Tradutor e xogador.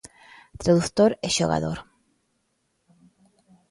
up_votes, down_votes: 0, 2